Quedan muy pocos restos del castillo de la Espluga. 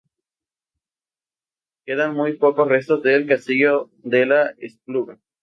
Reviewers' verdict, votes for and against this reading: rejected, 2, 2